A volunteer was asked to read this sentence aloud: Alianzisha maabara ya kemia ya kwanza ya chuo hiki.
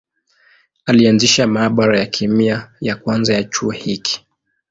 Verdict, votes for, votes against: accepted, 11, 1